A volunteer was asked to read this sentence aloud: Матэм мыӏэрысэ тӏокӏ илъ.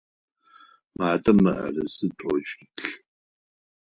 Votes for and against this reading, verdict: 4, 0, accepted